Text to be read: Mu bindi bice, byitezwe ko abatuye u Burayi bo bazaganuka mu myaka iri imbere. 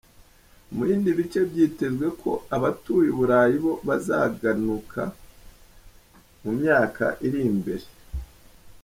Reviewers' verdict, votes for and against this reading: accepted, 3, 0